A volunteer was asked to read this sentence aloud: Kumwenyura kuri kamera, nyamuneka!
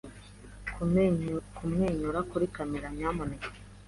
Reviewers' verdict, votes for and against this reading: rejected, 1, 2